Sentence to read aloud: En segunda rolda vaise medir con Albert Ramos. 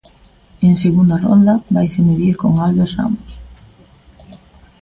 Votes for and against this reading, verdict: 3, 0, accepted